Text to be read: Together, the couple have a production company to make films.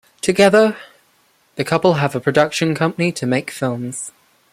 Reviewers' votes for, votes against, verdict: 1, 2, rejected